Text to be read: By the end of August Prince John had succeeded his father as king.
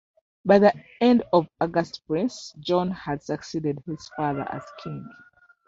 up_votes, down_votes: 1, 2